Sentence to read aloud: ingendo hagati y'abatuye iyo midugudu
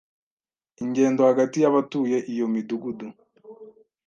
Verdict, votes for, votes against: accepted, 2, 0